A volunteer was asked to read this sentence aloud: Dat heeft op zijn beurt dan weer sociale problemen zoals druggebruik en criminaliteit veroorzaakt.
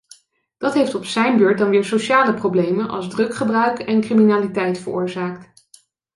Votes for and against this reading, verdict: 1, 2, rejected